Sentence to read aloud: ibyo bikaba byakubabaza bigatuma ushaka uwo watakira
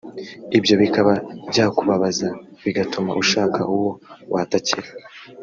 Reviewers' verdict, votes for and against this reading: accepted, 2, 0